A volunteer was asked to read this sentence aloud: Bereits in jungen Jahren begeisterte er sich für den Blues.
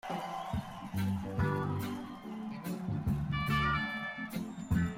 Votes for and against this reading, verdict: 0, 2, rejected